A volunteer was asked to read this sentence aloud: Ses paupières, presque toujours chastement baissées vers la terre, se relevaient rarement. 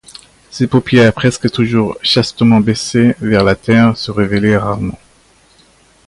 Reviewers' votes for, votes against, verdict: 2, 0, accepted